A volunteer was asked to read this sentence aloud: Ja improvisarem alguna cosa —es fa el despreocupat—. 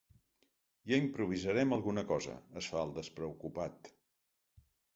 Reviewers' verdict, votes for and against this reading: accepted, 3, 0